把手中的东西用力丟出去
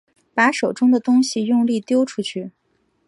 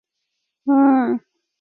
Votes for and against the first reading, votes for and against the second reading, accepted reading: 7, 0, 0, 2, first